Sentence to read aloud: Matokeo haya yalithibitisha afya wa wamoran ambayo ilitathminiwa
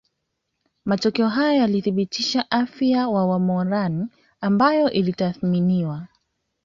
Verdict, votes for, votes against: accepted, 2, 0